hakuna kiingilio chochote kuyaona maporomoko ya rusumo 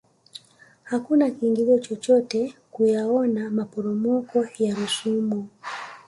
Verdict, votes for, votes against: rejected, 1, 2